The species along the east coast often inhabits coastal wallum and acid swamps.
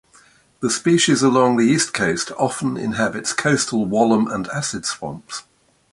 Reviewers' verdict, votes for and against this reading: accepted, 2, 0